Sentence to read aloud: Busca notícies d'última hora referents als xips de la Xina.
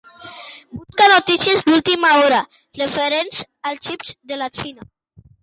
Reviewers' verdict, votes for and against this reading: rejected, 1, 2